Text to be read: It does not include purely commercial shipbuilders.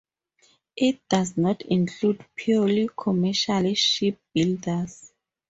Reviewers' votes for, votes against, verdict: 2, 0, accepted